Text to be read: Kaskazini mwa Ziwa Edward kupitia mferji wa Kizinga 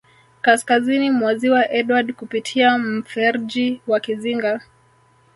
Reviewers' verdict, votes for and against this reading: rejected, 0, 2